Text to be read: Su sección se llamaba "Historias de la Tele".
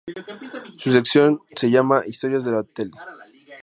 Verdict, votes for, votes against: accepted, 2, 0